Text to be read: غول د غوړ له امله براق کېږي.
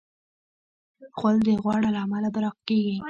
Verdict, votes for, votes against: accepted, 2, 1